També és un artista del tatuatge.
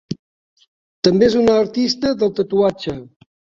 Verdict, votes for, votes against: accepted, 2, 1